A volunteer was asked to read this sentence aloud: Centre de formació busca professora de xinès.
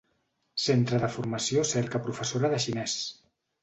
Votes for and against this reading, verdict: 2, 3, rejected